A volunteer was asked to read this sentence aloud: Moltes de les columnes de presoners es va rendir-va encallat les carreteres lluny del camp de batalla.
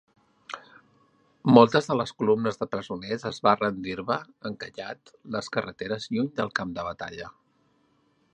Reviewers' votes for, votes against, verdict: 2, 0, accepted